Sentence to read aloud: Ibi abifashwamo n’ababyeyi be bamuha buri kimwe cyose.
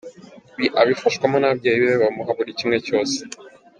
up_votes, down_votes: 2, 0